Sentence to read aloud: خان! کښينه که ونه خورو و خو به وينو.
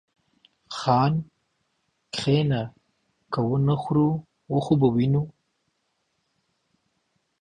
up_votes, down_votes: 2, 0